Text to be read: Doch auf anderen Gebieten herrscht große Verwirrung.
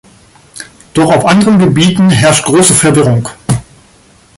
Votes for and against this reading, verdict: 2, 1, accepted